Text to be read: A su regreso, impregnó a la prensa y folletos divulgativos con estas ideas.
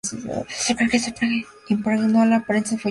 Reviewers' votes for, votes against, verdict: 0, 2, rejected